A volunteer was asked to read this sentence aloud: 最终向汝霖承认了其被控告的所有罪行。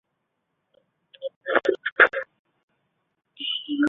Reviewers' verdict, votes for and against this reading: rejected, 1, 2